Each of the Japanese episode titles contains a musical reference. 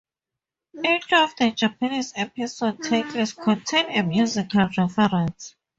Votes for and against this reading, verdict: 0, 4, rejected